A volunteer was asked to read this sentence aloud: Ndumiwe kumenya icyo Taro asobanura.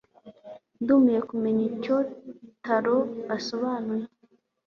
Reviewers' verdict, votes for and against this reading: accepted, 2, 0